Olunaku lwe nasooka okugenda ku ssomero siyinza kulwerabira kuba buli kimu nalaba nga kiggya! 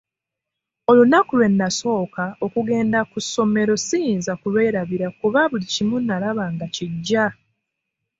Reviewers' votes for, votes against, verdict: 3, 0, accepted